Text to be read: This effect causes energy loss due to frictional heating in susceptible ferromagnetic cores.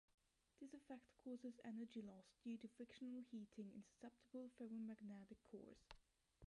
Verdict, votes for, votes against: rejected, 0, 2